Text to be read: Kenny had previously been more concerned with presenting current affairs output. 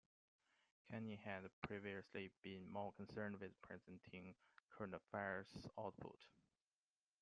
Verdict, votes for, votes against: rejected, 0, 2